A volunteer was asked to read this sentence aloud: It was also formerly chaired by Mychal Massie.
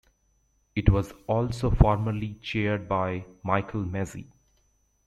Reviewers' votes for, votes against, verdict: 2, 0, accepted